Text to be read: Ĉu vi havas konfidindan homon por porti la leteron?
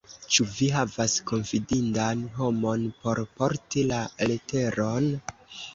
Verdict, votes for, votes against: accepted, 2, 0